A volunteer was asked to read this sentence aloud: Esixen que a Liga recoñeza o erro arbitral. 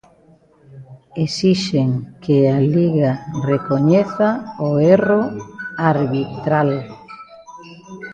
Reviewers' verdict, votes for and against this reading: accepted, 2, 0